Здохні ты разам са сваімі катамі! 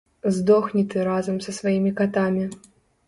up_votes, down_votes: 2, 0